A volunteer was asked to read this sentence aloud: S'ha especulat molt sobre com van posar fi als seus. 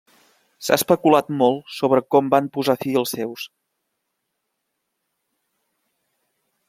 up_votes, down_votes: 2, 0